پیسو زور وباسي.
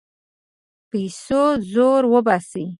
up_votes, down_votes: 2, 0